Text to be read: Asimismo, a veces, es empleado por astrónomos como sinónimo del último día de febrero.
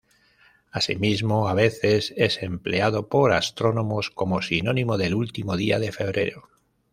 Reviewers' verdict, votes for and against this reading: accepted, 2, 0